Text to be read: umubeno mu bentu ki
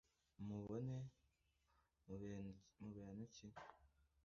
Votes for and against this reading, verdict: 1, 2, rejected